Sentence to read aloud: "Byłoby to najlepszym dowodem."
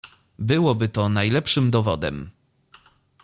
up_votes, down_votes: 2, 0